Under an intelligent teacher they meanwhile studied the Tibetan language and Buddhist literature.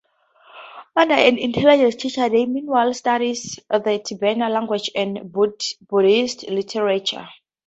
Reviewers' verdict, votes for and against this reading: accepted, 4, 2